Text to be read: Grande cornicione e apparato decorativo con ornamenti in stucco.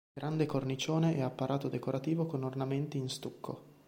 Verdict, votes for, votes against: accepted, 2, 0